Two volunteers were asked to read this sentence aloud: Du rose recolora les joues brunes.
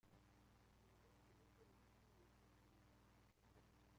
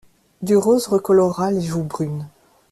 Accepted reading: second